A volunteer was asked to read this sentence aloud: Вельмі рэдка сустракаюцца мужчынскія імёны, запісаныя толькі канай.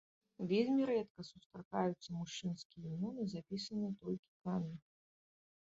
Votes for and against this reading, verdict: 0, 2, rejected